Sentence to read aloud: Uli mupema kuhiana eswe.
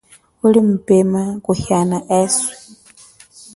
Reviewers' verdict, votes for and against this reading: accepted, 2, 0